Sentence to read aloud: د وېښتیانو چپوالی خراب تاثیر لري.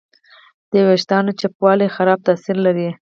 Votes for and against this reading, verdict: 2, 4, rejected